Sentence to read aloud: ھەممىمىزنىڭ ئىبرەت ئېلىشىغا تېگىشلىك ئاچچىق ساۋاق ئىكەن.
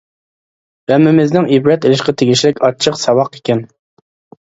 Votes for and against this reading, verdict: 1, 2, rejected